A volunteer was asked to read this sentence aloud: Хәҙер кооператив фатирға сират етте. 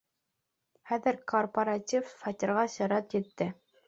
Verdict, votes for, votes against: rejected, 0, 2